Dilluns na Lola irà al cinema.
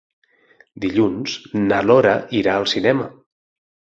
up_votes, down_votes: 0, 6